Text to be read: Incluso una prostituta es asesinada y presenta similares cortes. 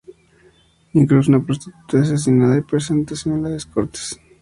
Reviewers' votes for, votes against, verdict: 0, 6, rejected